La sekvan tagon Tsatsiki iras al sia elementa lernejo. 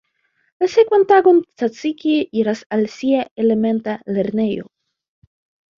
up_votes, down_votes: 2, 0